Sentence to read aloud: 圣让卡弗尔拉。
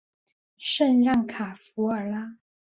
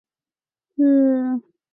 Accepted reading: first